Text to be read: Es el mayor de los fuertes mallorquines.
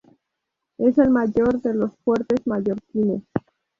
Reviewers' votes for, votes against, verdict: 2, 0, accepted